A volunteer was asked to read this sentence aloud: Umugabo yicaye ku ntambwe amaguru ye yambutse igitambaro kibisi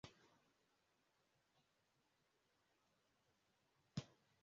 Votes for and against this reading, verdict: 0, 2, rejected